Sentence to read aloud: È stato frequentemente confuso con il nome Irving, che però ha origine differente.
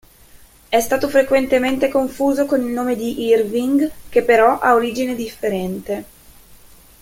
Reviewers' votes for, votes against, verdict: 2, 0, accepted